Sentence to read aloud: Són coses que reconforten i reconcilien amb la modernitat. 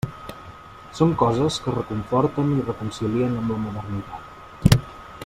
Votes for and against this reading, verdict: 3, 0, accepted